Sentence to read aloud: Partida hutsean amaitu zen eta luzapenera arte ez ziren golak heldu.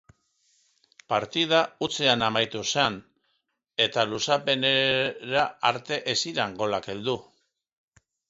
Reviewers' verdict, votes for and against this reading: rejected, 0, 2